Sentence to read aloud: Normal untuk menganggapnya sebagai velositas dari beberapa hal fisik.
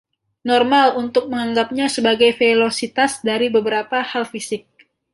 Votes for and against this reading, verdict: 2, 0, accepted